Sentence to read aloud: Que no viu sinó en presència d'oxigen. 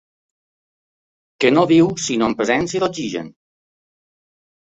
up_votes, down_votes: 2, 0